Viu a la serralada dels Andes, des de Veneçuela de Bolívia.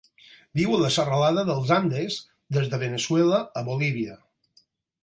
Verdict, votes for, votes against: rejected, 2, 4